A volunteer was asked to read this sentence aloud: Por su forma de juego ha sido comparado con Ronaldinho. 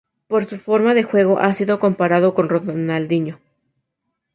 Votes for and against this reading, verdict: 2, 0, accepted